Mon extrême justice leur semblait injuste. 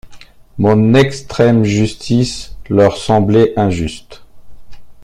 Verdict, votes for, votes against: accepted, 2, 0